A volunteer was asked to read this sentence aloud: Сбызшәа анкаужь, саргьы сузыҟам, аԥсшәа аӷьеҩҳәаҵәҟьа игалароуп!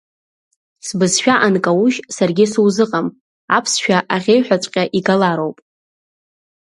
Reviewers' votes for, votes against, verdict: 2, 0, accepted